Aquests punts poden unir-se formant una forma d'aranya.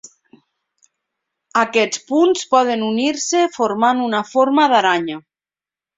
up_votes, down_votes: 2, 0